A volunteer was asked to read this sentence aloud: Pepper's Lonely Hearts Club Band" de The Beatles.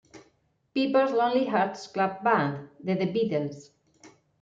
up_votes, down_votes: 0, 2